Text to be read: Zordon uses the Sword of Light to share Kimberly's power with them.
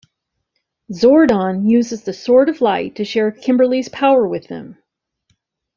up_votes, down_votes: 2, 0